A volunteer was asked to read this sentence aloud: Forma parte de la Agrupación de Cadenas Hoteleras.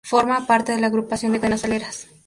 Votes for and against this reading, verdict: 2, 0, accepted